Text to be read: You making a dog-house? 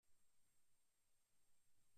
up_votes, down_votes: 0, 2